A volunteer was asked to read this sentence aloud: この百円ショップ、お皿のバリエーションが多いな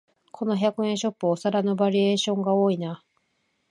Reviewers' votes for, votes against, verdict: 3, 0, accepted